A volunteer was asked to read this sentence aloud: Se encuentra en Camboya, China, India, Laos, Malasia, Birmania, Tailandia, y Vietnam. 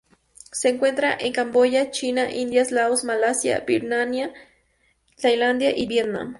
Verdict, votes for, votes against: rejected, 0, 2